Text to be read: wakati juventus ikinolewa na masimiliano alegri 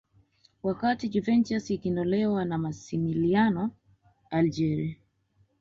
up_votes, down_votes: 1, 2